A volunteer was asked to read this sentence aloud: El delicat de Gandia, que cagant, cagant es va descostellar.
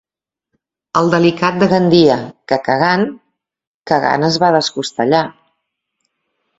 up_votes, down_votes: 2, 0